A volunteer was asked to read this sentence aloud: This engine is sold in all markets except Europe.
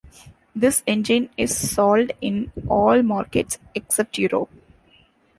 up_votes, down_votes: 2, 0